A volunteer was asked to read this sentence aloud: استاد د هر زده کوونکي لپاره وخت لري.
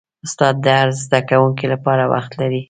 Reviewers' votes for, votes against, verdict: 2, 0, accepted